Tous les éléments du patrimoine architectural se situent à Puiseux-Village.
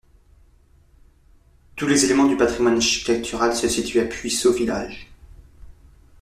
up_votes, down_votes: 0, 2